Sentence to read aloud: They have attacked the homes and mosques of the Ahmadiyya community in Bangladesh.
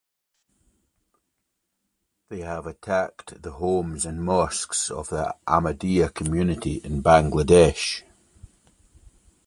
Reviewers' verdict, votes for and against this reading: accepted, 2, 0